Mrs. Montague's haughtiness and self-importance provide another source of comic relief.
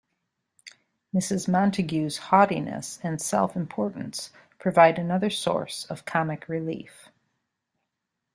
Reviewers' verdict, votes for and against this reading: accepted, 2, 0